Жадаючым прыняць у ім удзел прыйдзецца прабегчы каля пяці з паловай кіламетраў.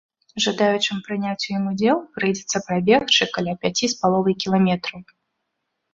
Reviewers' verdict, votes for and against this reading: accepted, 2, 0